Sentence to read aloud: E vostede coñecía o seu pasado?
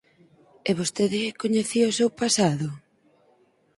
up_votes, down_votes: 4, 0